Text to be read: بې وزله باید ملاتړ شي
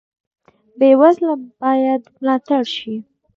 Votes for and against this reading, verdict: 2, 0, accepted